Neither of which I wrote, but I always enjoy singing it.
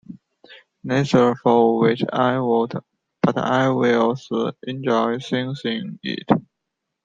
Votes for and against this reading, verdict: 1, 2, rejected